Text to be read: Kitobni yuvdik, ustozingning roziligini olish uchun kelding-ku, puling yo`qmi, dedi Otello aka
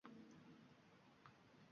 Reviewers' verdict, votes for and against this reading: rejected, 0, 2